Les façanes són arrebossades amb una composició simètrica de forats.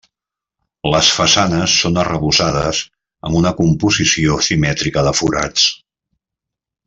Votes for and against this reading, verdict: 3, 0, accepted